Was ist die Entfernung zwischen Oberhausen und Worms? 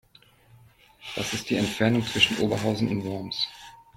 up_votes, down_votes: 1, 2